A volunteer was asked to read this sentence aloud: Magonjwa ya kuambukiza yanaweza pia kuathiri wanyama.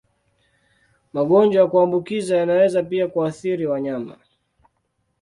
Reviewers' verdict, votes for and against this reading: accepted, 2, 0